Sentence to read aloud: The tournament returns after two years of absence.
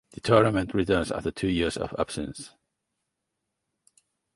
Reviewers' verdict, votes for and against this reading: accepted, 4, 0